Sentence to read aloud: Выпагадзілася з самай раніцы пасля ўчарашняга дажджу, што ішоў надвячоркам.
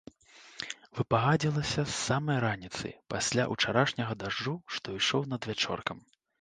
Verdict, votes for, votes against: accepted, 2, 1